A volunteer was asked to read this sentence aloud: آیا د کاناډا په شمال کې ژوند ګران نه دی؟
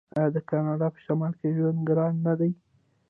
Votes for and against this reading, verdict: 0, 2, rejected